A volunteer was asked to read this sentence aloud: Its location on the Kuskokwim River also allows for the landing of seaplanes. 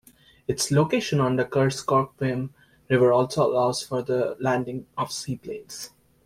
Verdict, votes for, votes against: rejected, 0, 2